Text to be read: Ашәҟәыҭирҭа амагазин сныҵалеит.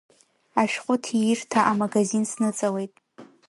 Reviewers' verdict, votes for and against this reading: rejected, 0, 2